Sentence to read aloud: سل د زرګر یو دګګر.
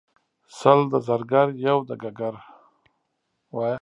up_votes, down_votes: 2, 4